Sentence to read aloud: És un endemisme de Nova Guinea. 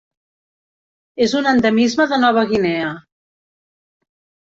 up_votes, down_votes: 3, 0